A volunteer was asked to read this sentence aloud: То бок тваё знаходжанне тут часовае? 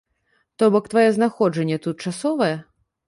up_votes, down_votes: 2, 0